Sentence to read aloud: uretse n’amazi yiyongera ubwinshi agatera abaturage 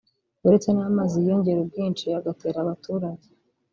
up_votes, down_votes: 1, 2